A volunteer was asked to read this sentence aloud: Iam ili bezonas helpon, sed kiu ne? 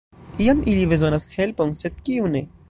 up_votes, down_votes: 1, 2